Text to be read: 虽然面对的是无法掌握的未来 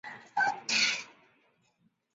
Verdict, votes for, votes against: rejected, 1, 3